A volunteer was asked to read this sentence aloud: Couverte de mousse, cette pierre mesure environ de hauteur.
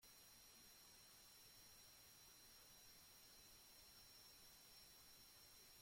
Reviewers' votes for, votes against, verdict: 0, 2, rejected